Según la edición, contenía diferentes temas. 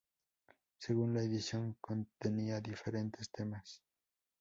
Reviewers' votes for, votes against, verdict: 2, 0, accepted